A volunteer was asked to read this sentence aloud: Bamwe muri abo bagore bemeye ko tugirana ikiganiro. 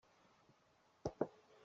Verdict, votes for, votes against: rejected, 0, 2